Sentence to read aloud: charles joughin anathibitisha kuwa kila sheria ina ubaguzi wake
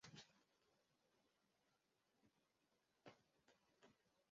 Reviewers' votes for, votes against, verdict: 0, 3, rejected